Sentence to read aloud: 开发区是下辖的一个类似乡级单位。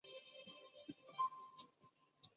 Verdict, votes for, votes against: rejected, 1, 2